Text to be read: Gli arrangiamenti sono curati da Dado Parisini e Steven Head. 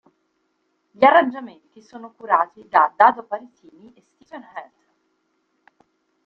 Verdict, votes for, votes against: rejected, 1, 2